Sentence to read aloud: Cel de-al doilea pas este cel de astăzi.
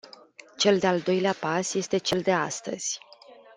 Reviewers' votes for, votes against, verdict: 2, 0, accepted